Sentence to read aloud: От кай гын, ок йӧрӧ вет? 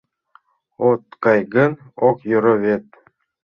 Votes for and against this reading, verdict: 1, 2, rejected